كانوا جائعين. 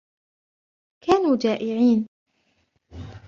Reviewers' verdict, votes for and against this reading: accepted, 2, 0